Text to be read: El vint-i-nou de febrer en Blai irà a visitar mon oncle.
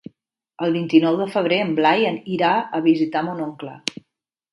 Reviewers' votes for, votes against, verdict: 1, 2, rejected